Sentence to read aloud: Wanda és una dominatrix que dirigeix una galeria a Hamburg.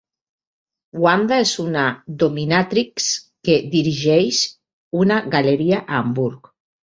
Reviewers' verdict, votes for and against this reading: accepted, 3, 0